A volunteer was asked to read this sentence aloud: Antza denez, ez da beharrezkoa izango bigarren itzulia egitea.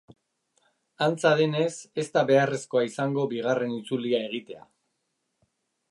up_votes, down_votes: 3, 0